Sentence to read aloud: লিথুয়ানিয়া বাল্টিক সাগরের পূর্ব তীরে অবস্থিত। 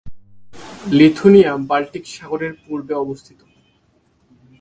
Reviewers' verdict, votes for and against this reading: accepted, 2, 0